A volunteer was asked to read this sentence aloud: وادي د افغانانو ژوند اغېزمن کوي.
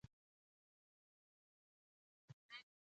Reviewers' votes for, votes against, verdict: 0, 2, rejected